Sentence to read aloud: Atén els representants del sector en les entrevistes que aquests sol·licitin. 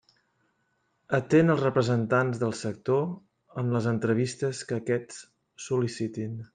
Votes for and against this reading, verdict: 2, 0, accepted